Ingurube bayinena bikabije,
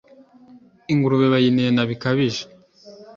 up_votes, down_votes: 2, 0